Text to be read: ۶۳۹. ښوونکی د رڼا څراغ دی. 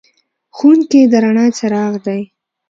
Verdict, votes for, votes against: rejected, 0, 2